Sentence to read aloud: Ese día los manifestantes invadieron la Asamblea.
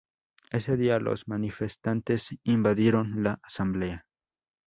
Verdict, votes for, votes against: accepted, 2, 0